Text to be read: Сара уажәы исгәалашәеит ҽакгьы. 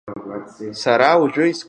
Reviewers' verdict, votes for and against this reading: rejected, 0, 2